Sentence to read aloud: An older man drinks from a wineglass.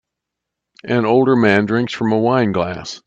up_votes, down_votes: 2, 1